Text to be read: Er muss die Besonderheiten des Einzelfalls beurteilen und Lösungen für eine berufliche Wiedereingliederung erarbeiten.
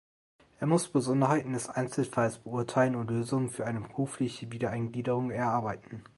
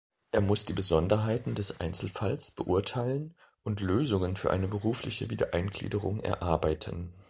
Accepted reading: second